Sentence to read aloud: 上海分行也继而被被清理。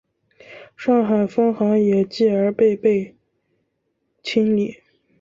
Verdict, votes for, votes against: rejected, 1, 2